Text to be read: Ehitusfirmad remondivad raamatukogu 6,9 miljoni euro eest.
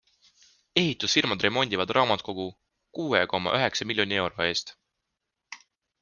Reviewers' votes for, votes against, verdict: 0, 2, rejected